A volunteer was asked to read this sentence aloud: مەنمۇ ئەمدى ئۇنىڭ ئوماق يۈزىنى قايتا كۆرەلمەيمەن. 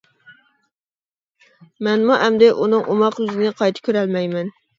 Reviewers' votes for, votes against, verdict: 2, 0, accepted